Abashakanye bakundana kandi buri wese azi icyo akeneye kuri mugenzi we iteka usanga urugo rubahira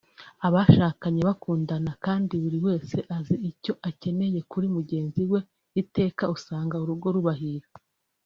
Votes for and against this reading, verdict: 1, 2, rejected